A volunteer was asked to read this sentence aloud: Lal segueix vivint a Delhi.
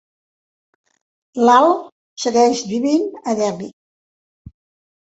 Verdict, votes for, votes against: accepted, 2, 0